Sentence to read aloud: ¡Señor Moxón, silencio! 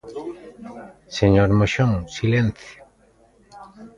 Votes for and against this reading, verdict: 2, 0, accepted